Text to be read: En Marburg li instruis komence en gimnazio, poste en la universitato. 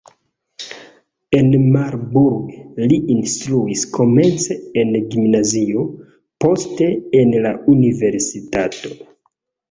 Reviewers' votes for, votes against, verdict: 2, 0, accepted